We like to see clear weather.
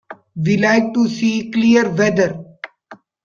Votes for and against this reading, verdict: 1, 2, rejected